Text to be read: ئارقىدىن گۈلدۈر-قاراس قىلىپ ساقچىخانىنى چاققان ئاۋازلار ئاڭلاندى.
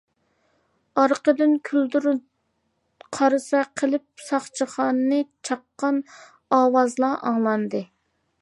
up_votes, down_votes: 0, 2